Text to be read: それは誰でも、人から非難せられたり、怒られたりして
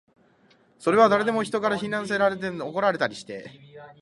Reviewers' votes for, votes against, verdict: 0, 2, rejected